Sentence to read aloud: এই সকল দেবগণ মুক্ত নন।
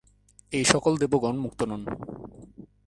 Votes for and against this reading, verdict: 1, 2, rejected